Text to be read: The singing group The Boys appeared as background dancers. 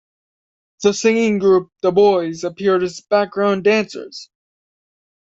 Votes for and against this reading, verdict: 2, 0, accepted